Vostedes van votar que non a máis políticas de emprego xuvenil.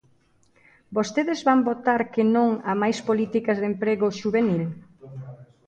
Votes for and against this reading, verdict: 2, 0, accepted